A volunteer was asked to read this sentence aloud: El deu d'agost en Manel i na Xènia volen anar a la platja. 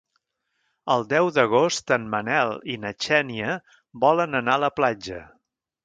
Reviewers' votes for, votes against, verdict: 3, 0, accepted